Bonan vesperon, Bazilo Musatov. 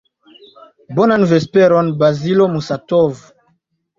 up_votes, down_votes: 3, 0